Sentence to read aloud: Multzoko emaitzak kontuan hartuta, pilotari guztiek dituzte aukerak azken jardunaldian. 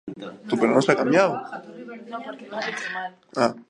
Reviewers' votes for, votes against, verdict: 0, 3, rejected